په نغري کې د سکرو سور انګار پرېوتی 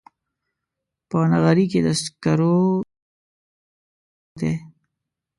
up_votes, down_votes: 0, 2